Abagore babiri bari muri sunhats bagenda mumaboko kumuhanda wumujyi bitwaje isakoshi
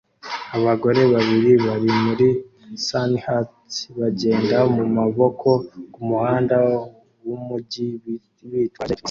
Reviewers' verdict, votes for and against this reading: accepted, 2, 0